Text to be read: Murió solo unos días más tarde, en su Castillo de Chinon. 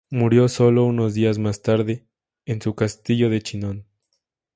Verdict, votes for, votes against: accepted, 2, 0